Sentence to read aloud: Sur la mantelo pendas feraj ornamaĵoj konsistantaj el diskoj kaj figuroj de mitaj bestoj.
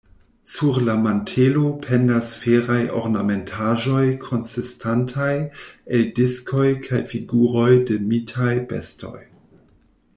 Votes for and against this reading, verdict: 1, 2, rejected